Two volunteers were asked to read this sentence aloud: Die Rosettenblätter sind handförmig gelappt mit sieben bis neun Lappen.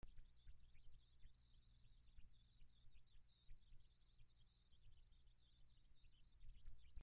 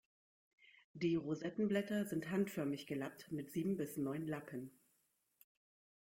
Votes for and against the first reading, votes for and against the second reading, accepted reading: 0, 2, 2, 0, second